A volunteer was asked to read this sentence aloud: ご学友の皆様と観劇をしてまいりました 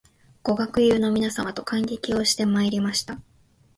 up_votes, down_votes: 2, 0